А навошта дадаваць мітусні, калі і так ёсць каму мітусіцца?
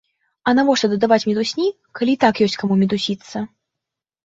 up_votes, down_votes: 2, 0